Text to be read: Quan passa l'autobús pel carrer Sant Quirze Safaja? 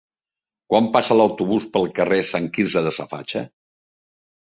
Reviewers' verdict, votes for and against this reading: rejected, 0, 3